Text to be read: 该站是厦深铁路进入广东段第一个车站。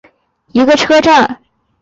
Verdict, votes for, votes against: rejected, 0, 2